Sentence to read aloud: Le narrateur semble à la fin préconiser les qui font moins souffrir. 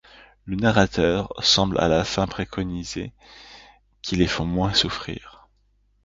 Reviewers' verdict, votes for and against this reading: rejected, 1, 2